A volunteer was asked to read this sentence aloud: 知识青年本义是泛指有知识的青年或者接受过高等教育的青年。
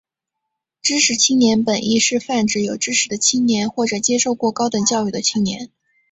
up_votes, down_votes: 2, 1